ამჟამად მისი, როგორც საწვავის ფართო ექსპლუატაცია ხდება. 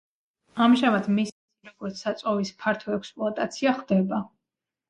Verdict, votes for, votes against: accepted, 2, 1